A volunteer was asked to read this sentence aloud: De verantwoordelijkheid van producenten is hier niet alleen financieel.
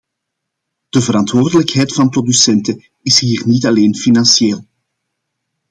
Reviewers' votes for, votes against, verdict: 2, 0, accepted